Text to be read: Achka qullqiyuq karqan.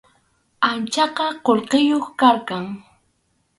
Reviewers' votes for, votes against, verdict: 2, 2, rejected